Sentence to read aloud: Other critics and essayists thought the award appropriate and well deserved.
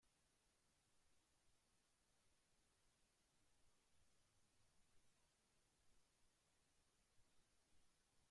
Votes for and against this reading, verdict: 0, 2, rejected